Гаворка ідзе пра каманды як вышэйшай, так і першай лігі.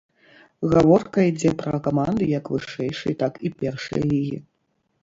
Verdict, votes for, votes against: rejected, 0, 2